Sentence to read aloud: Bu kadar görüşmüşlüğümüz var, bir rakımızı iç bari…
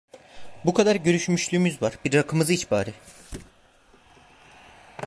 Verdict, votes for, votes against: accepted, 2, 0